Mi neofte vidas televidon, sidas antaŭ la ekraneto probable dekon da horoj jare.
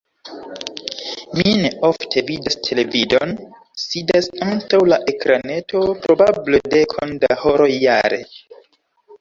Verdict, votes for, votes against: rejected, 1, 2